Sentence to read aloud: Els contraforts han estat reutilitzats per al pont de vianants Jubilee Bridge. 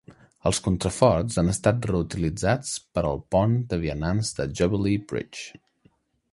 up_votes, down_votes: 1, 2